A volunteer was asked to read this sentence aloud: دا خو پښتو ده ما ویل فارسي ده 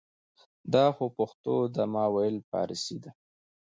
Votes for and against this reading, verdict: 0, 2, rejected